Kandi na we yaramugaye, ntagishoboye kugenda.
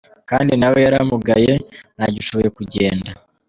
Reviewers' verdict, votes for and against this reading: accepted, 2, 0